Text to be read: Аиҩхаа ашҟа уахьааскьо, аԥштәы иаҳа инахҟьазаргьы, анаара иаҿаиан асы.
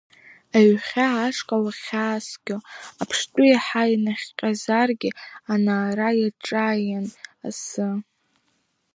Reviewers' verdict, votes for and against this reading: rejected, 0, 2